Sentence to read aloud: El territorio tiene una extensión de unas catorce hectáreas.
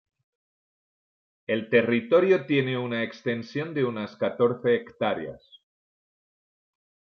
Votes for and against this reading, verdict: 2, 0, accepted